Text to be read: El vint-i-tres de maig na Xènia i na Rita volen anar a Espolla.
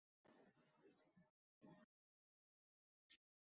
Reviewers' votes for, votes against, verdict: 0, 2, rejected